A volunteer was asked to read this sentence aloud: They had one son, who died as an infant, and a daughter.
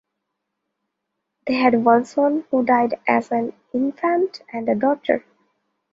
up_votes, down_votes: 2, 0